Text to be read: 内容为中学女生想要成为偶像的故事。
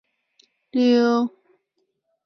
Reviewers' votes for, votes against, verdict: 0, 2, rejected